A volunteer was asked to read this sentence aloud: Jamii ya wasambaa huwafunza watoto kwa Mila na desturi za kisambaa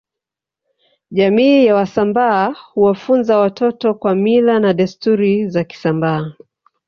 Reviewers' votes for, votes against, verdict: 3, 0, accepted